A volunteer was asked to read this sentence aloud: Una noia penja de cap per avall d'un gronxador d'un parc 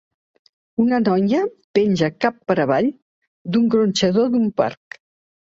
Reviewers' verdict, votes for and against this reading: rejected, 1, 2